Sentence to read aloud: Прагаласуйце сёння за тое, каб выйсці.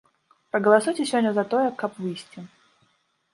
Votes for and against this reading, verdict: 2, 0, accepted